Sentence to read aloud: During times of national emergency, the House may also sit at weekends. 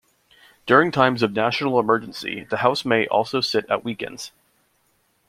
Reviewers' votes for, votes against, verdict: 2, 1, accepted